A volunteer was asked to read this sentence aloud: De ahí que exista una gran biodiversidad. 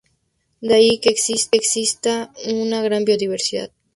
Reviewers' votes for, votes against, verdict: 0, 2, rejected